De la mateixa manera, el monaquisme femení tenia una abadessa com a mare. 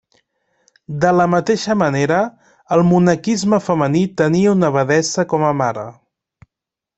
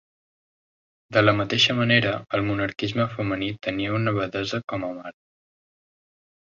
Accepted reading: first